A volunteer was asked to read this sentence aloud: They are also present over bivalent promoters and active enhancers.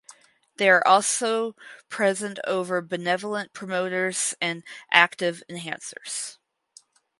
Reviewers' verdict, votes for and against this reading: rejected, 2, 2